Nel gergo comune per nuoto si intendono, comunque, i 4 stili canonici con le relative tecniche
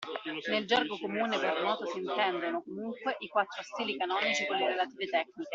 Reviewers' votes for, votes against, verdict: 0, 2, rejected